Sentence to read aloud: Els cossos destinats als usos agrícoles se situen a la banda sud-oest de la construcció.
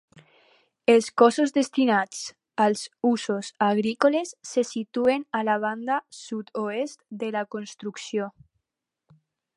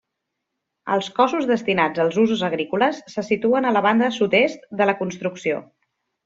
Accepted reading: first